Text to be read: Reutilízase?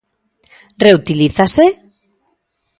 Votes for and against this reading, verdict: 2, 0, accepted